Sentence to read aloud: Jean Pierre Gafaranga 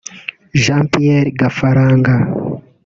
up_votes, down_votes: 0, 2